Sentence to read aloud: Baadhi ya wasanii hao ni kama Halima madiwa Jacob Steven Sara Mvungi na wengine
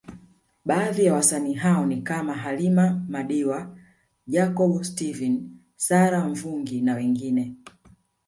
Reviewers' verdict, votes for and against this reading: accepted, 2, 0